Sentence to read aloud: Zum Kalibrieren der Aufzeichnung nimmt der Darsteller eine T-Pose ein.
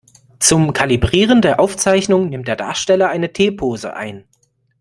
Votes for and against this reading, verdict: 2, 0, accepted